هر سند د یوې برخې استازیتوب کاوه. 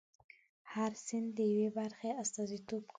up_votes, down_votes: 2, 3